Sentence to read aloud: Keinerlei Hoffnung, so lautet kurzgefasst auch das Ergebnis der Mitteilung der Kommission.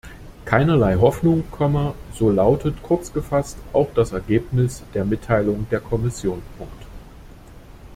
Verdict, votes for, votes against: rejected, 0, 2